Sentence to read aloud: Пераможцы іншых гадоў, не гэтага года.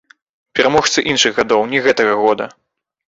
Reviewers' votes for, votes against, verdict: 0, 2, rejected